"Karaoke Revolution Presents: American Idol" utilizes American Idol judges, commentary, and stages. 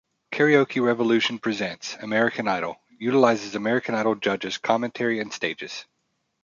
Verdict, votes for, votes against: accepted, 2, 0